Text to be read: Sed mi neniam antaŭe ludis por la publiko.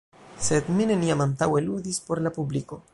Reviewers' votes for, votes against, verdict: 0, 2, rejected